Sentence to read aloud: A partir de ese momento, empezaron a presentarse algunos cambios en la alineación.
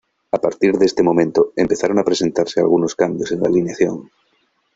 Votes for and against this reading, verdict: 0, 2, rejected